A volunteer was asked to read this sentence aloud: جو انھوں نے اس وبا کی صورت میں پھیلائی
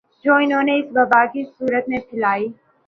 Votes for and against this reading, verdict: 2, 0, accepted